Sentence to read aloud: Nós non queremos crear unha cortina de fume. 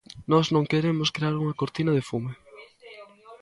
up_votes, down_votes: 1, 2